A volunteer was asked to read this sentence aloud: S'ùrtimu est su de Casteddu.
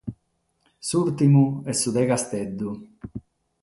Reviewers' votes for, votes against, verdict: 6, 0, accepted